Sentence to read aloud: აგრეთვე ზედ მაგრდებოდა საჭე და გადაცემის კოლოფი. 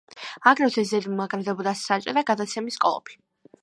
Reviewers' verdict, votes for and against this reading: accepted, 3, 0